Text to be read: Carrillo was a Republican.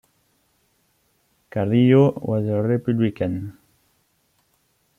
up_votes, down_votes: 2, 0